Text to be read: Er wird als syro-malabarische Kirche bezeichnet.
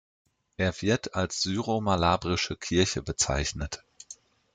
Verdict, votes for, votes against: rejected, 1, 2